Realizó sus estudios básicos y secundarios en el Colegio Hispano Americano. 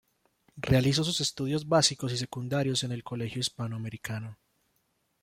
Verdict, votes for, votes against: rejected, 1, 3